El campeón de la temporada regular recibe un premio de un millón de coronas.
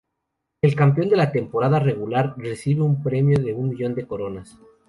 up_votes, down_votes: 2, 0